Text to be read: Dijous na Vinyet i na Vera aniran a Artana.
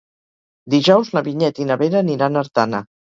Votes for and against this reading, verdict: 2, 4, rejected